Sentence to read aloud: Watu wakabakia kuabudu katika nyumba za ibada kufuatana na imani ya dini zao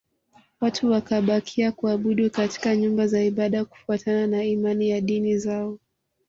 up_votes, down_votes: 0, 2